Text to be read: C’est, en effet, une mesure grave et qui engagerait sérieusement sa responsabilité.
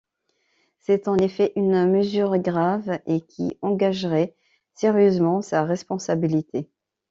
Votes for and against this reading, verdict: 2, 0, accepted